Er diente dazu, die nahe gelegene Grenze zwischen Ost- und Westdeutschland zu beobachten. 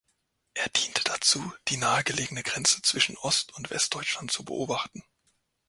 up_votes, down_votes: 2, 0